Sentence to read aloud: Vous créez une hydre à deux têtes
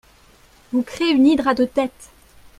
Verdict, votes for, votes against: rejected, 1, 2